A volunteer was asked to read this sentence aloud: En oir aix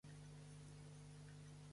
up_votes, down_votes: 0, 2